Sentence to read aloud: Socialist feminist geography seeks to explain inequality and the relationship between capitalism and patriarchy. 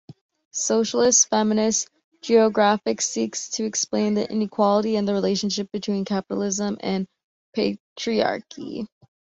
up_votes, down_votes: 2, 0